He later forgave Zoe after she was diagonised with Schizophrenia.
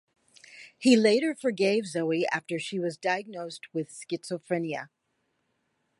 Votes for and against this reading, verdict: 2, 0, accepted